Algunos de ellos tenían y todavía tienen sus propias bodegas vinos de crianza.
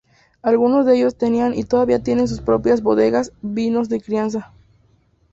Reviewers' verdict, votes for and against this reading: rejected, 0, 4